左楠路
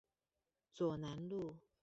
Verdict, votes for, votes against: rejected, 0, 2